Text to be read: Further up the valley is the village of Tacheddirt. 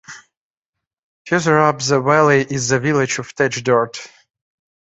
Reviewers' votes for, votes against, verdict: 1, 2, rejected